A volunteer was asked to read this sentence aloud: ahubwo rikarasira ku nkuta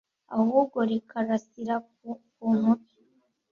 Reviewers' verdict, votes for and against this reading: rejected, 1, 2